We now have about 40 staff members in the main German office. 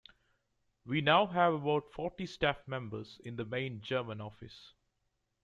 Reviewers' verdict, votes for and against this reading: rejected, 0, 2